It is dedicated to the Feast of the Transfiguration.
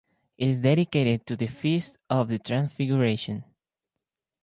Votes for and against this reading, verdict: 2, 2, rejected